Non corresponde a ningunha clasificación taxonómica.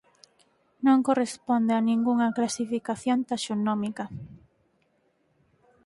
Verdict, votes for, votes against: accepted, 4, 0